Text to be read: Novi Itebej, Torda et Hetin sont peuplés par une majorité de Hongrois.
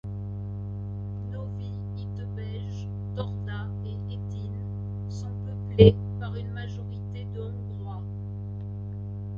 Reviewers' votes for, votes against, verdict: 2, 1, accepted